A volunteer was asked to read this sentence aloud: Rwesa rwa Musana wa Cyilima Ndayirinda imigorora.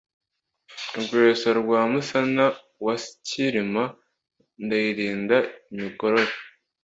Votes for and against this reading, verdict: 2, 1, accepted